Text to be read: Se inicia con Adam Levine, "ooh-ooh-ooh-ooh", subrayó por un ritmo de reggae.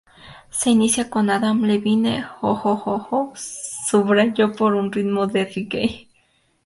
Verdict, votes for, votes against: accepted, 2, 0